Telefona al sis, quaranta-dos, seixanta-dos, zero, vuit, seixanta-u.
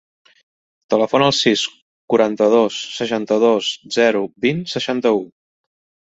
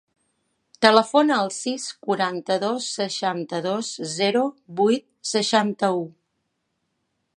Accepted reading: second